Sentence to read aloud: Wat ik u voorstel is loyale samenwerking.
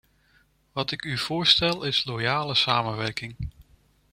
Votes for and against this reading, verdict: 2, 0, accepted